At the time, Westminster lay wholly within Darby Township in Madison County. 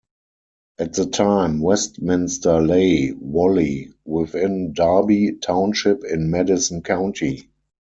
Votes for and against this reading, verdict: 4, 0, accepted